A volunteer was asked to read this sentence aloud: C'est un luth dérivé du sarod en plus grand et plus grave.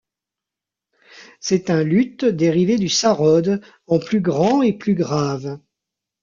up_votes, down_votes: 0, 2